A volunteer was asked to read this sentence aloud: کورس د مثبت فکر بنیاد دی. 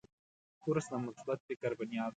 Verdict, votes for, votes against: accepted, 2, 0